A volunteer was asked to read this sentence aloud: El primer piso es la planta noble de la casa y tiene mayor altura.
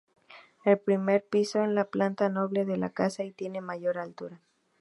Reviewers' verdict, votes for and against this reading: accepted, 2, 0